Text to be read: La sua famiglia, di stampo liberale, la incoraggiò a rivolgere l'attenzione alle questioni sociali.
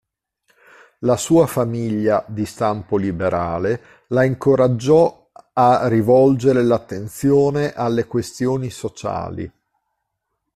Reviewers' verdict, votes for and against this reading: rejected, 0, 2